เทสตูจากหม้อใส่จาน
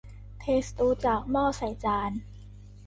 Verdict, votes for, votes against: accepted, 2, 0